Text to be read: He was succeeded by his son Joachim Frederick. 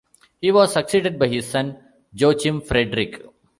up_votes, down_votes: 2, 0